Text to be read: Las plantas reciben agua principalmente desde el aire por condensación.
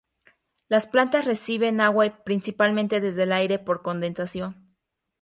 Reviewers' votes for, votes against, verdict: 0, 2, rejected